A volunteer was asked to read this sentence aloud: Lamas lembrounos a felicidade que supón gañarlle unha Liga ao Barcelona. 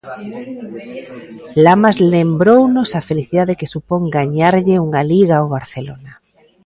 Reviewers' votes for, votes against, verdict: 0, 2, rejected